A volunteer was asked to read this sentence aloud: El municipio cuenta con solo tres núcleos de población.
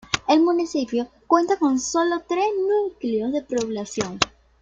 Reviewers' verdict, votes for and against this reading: rejected, 1, 2